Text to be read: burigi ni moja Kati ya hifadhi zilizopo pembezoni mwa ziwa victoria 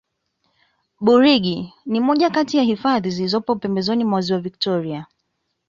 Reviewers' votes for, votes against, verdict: 0, 2, rejected